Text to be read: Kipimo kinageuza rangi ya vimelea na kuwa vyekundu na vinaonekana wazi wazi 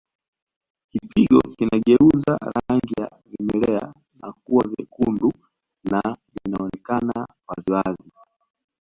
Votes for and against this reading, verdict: 1, 2, rejected